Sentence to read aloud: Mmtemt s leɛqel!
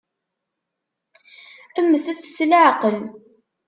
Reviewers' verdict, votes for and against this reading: rejected, 1, 3